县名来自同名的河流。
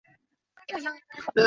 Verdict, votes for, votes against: rejected, 0, 4